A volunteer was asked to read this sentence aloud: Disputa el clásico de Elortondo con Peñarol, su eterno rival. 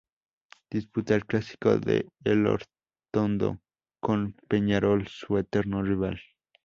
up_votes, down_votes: 2, 0